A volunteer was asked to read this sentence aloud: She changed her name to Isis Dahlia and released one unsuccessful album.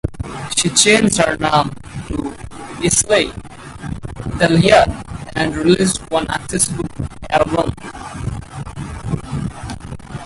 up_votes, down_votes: 0, 4